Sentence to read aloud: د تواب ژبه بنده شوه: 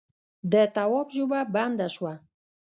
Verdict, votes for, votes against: rejected, 1, 2